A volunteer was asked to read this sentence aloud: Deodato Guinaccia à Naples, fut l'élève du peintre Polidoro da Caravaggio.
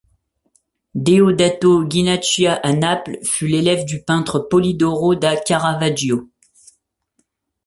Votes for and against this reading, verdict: 0, 2, rejected